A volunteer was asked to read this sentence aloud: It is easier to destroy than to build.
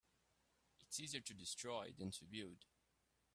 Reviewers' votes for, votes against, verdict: 1, 2, rejected